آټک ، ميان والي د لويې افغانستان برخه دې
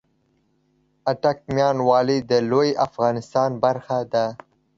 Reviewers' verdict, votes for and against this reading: accepted, 2, 1